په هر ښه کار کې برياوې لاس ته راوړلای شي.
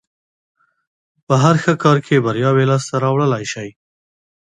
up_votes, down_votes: 2, 0